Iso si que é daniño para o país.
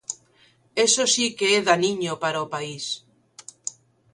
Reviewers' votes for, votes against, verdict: 1, 2, rejected